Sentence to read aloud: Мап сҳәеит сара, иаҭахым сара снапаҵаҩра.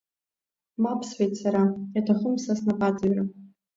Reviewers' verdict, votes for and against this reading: accepted, 2, 0